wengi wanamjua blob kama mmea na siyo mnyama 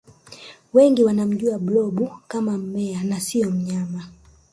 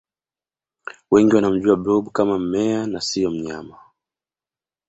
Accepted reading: second